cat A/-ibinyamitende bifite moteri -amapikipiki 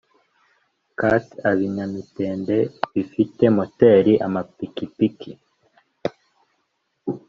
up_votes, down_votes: 2, 0